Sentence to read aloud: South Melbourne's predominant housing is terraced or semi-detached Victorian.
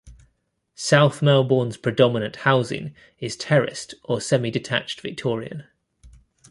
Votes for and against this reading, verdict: 2, 0, accepted